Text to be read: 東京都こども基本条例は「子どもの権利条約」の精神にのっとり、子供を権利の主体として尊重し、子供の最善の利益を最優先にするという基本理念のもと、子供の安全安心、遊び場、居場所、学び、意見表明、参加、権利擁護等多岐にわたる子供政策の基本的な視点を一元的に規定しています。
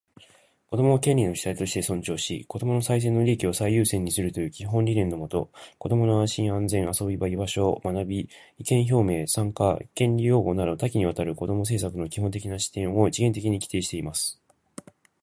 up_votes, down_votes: 0, 2